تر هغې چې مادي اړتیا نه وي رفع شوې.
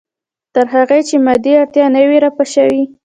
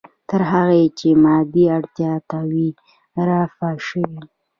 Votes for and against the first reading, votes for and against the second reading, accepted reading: 1, 2, 2, 0, second